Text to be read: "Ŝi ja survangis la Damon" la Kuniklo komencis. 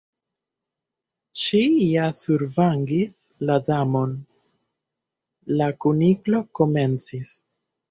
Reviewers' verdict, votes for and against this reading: rejected, 1, 2